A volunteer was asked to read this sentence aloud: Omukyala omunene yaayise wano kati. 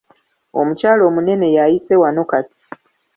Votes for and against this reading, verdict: 2, 0, accepted